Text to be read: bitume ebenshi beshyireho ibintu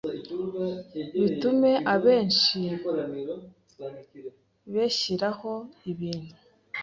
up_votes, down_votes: 1, 2